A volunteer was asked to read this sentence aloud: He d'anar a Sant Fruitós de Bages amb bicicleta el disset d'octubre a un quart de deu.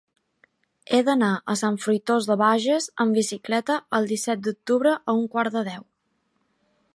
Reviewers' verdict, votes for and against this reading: accepted, 3, 0